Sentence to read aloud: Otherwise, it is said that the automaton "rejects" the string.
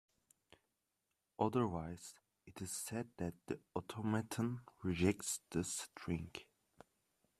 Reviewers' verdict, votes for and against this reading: accepted, 2, 1